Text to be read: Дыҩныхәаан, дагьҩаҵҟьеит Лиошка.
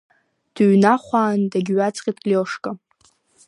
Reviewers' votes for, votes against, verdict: 0, 2, rejected